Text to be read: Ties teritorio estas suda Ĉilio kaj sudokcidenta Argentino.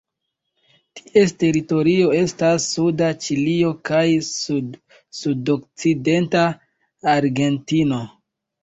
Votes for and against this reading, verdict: 0, 2, rejected